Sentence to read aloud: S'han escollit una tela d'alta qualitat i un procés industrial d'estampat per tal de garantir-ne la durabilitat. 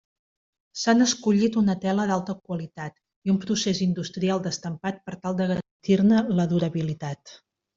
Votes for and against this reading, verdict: 0, 2, rejected